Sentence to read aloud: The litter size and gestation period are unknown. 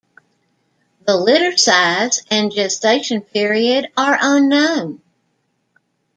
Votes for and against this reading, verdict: 2, 0, accepted